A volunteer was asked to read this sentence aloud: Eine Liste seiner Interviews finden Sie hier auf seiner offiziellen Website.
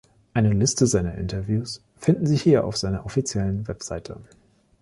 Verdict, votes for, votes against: accepted, 2, 1